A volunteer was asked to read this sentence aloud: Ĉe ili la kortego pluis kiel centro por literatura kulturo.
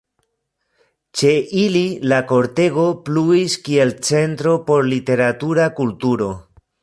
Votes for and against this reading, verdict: 1, 2, rejected